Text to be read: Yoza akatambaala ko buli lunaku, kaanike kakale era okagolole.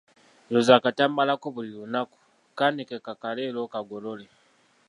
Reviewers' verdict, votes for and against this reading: accepted, 3, 1